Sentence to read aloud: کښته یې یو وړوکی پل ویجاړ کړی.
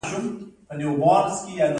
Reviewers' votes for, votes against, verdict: 2, 1, accepted